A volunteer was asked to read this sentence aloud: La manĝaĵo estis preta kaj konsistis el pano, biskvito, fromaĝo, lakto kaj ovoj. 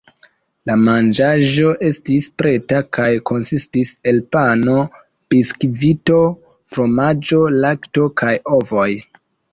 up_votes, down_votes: 2, 0